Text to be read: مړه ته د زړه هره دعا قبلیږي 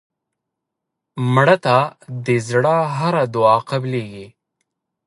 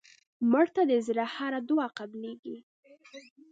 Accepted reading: first